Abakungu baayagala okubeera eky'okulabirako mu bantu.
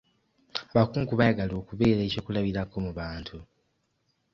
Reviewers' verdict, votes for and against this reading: accepted, 2, 1